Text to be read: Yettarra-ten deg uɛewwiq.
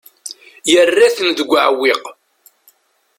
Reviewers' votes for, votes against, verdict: 0, 2, rejected